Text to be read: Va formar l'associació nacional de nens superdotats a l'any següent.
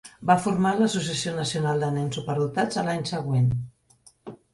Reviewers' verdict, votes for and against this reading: accepted, 2, 0